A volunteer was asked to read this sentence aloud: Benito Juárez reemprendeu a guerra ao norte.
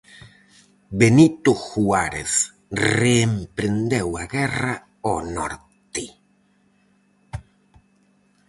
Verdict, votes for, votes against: rejected, 2, 2